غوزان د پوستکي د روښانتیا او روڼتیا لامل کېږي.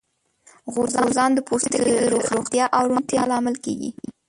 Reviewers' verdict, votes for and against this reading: rejected, 0, 2